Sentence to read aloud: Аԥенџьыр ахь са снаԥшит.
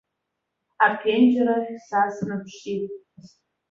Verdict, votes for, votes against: accepted, 2, 0